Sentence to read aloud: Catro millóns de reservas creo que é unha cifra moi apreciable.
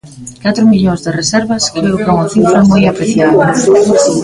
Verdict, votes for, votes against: rejected, 0, 2